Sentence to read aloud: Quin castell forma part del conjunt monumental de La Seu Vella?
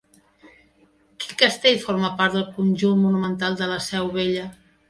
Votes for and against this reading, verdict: 1, 2, rejected